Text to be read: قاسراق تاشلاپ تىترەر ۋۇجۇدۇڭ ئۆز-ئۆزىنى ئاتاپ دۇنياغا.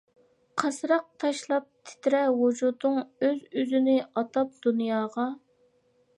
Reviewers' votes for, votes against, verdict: 2, 1, accepted